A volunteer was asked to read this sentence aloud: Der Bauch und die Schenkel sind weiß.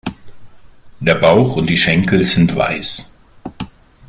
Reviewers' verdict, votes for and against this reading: accepted, 2, 0